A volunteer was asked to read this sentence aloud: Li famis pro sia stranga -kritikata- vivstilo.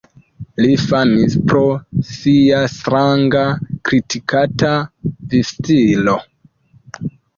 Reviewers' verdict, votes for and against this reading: rejected, 1, 2